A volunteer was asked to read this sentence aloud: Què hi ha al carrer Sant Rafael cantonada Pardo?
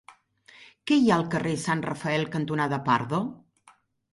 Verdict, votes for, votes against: accepted, 3, 0